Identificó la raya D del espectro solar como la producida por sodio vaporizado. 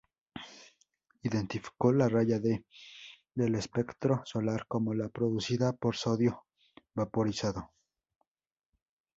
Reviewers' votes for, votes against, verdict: 2, 0, accepted